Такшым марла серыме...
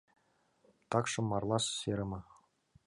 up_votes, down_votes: 2, 0